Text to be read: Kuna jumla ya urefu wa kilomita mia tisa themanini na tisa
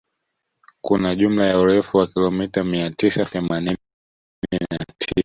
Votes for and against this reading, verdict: 0, 2, rejected